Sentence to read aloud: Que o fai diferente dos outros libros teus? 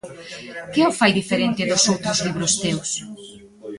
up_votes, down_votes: 2, 1